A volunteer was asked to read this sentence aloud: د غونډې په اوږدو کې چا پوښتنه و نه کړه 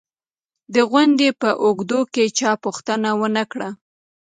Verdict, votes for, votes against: accepted, 2, 0